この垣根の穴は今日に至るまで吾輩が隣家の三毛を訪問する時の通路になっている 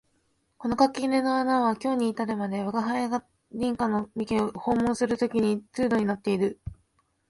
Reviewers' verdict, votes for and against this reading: rejected, 1, 2